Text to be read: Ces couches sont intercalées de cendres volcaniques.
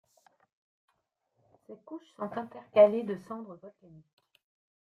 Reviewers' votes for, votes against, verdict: 0, 2, rejected